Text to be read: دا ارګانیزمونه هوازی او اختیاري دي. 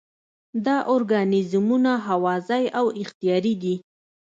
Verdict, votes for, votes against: accepted, 2, 0